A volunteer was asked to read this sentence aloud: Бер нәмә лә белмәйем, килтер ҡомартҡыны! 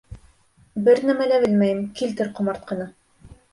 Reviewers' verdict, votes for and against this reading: rejected, 1, 2